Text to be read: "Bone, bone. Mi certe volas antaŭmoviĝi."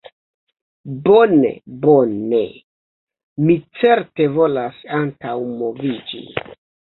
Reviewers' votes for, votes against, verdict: 1, 2, rejected